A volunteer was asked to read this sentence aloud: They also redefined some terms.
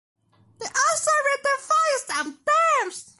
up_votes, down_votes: 0, 2